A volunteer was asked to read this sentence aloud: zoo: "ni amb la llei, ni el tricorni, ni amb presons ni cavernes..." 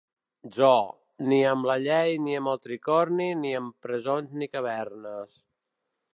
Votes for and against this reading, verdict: 0, 2, rejected